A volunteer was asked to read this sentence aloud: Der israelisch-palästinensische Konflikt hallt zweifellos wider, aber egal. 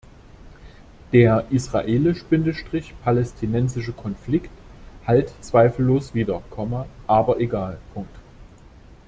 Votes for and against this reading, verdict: 0, 2, rejected